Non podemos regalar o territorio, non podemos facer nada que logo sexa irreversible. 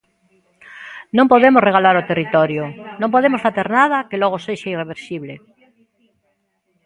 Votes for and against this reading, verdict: 1, 2, rejected